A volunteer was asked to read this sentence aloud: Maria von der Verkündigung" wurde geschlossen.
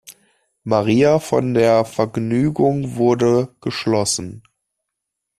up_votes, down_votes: 0, 2